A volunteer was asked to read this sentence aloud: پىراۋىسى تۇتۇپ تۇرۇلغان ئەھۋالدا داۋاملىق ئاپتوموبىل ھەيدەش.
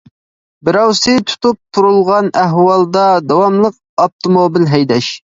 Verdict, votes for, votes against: rejected, 0, 2